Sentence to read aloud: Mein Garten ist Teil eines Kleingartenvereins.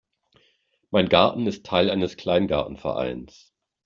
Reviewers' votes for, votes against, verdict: 2, 0, accepted